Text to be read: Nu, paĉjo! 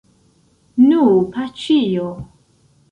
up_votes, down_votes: 1, 2